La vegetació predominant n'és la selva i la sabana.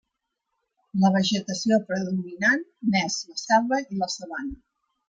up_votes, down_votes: 0, 2